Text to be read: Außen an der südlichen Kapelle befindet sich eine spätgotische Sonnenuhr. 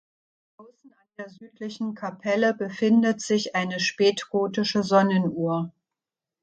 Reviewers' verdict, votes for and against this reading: rejected, 1, 2